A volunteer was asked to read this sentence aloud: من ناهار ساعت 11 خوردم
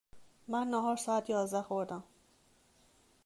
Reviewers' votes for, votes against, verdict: 0, 2, rejected